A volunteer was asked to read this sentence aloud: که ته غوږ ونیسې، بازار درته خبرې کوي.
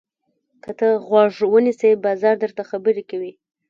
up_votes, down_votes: 1, 2